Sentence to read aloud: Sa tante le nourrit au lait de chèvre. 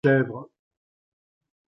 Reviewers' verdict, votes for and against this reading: rejected, 0, 3